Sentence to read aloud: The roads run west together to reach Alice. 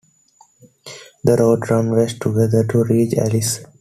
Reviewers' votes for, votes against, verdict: 2, 0, accepted